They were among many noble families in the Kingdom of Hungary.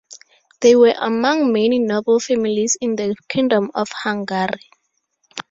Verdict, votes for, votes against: rejected, 0, 2